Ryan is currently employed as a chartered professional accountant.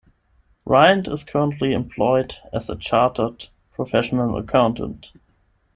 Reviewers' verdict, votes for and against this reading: rejected, 5, 10